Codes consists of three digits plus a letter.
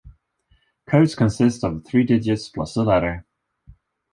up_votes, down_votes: 2, 0